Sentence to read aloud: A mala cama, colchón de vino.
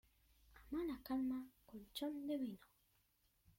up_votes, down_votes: 0, 2